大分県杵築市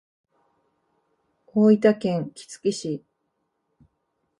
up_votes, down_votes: 2, 0